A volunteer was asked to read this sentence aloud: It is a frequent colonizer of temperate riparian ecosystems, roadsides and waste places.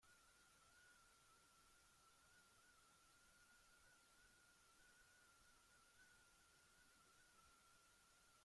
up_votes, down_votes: 0, 2